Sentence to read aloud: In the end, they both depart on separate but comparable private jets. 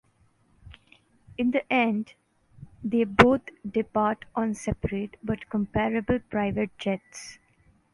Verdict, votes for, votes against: accepted, 2, 0